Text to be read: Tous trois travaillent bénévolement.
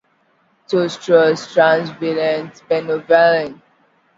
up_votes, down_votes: 0, 2